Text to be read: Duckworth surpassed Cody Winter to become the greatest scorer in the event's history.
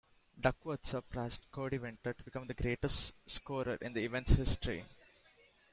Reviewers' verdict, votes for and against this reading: accepted, 2, 1